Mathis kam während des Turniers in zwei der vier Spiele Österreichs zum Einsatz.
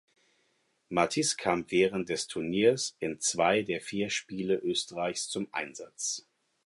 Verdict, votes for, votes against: accepted, 4, 0